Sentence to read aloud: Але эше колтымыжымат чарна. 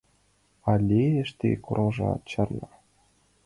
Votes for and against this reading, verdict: 2, 0, accepted